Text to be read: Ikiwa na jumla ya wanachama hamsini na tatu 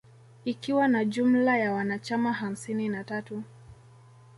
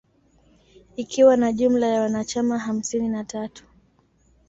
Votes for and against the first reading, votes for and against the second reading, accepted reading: 0, 2, 2, 0, second